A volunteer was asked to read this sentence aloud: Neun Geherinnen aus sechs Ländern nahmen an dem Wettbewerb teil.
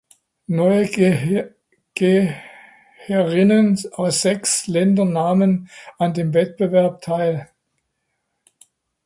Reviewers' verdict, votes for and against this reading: rejected, 1, 2